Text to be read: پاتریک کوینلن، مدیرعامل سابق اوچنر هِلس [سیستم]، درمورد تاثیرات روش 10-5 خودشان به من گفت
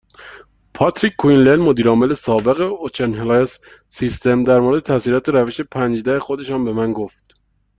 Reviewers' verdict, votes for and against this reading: rejected, 0, 2